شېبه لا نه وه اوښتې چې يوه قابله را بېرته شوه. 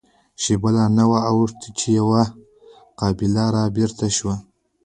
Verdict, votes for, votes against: rejected, 1, 2